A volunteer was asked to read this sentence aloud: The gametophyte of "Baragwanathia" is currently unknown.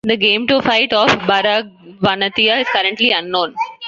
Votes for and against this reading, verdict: 0, 2, rejected